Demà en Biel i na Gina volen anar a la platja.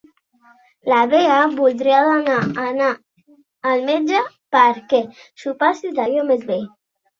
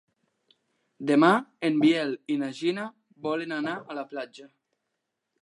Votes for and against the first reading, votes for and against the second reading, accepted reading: 0, 2, 3, 0, second